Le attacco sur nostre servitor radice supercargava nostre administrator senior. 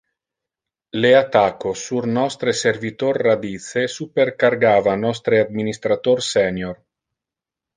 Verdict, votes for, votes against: accepted, 2, 0